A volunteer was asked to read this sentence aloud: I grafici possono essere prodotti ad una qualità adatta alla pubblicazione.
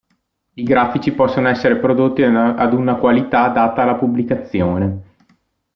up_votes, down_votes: 1, 2